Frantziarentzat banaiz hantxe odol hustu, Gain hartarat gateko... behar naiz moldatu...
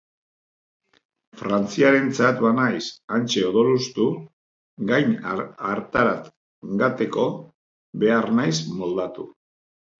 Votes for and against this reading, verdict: 1, 2, rejected